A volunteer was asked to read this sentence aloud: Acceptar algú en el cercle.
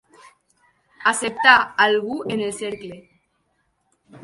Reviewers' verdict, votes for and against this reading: accepted, 4, 0